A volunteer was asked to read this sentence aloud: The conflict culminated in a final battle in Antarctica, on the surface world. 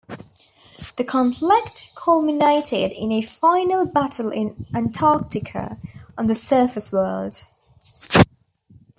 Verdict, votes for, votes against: accepted, 2, 0